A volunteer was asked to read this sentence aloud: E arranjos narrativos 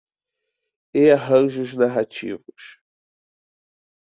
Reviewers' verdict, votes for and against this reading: accepted, 2, 0